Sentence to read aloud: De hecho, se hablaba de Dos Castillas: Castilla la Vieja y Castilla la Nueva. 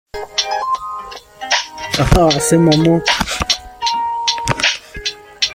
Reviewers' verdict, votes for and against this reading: rejected, 0, 2